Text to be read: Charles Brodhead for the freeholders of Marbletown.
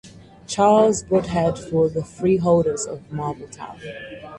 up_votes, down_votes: 4, 0